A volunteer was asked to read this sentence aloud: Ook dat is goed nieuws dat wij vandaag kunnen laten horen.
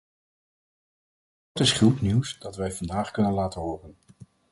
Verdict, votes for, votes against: rejected, 2, 4